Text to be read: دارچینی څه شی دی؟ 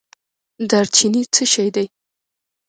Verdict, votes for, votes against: accepted, 2, 0